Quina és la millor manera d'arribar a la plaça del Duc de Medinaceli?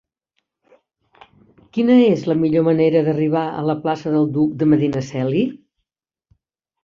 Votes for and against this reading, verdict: 3, 0, accepted